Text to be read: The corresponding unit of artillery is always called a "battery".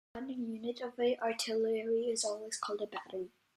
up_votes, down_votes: 1, 3